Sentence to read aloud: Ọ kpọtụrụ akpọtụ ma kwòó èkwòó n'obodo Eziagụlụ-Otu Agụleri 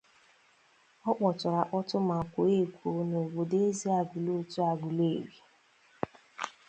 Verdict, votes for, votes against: accepted, 2, 0